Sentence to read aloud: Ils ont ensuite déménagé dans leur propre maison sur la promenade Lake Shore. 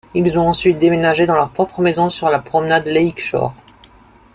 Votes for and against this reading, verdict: 2, 0, accepted